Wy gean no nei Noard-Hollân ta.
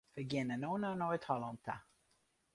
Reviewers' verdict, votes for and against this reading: rejected, 0, 2